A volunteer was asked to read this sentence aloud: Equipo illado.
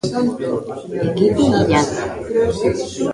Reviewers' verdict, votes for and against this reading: rejected, 0, 3